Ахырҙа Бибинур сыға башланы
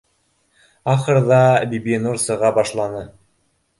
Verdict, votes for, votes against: accepted, 3, 0